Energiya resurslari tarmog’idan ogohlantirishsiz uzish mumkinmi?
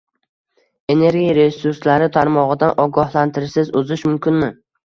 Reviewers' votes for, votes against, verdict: 2, 0, accepted